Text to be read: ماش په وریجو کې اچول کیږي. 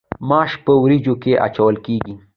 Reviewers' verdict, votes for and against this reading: accepted, 2, 0